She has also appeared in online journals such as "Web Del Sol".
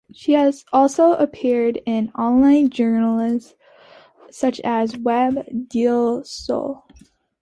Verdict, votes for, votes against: accepted, 2, 0